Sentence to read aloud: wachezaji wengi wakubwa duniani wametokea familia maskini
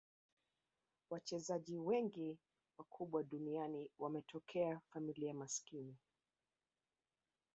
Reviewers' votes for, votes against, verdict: 1, 2, rejected